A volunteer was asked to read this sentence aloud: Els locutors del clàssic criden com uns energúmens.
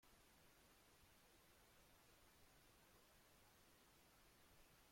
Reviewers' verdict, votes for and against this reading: rejected, 0, 2